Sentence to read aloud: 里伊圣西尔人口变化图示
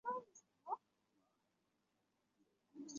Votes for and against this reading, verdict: 2, 1, accepted